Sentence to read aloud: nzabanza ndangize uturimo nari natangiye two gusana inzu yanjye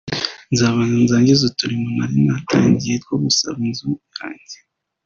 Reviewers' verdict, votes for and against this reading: accepted, 2, 0